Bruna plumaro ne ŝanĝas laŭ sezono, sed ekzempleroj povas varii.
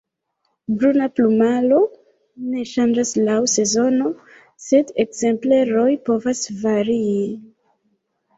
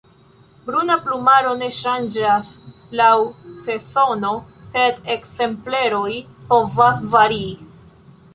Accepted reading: second